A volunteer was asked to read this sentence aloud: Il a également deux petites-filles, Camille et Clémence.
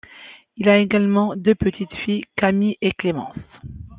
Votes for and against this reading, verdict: 2, 0, accepted